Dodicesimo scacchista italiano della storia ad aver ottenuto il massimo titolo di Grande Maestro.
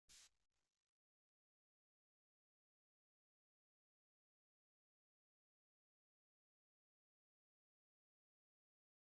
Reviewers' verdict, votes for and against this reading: rejected, 0, 2